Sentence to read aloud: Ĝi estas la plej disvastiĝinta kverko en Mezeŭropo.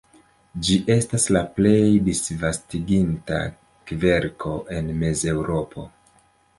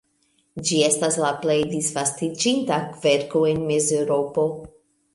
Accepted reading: second